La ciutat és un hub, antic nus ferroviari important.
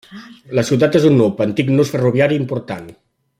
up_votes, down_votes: 0, 2